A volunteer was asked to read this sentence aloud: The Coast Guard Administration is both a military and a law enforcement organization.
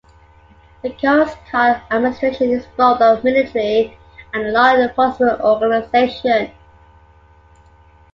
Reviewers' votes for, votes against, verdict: 2, 0, accepted